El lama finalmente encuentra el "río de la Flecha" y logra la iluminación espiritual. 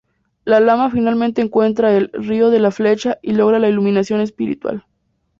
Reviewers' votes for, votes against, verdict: 2, 0, accepted